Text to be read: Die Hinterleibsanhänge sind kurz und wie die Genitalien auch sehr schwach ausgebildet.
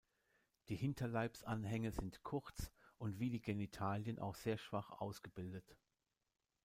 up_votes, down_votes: 1, 2